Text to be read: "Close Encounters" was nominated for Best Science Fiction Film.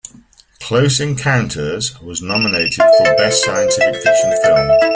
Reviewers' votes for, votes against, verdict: 1, 2, rejected